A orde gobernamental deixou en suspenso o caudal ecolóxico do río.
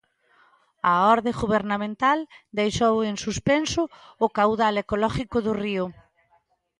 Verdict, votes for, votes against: rejected, 0, 2